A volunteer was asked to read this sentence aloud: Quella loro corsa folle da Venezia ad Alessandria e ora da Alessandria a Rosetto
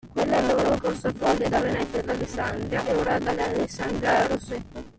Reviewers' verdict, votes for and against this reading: rejected, 0, 2